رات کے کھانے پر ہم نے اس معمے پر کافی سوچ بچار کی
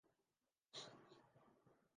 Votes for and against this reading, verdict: 1, 6, rejected